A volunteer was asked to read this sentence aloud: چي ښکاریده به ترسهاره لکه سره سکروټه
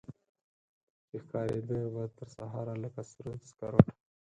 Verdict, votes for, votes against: rejected, 2, 4